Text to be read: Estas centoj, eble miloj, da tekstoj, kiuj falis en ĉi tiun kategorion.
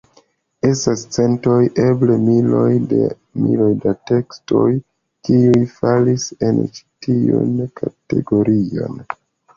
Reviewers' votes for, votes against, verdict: 0, 2, rejected